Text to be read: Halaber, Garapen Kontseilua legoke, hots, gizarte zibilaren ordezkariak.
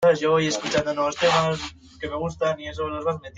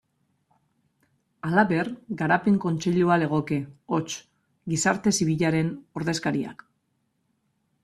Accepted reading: second